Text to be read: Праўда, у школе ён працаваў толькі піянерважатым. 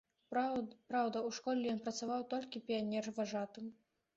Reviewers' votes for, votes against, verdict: 1, 2, rejected